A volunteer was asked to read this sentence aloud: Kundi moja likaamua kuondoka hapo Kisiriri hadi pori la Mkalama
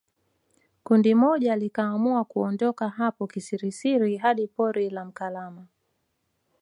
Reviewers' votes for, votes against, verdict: 1, 2, rejected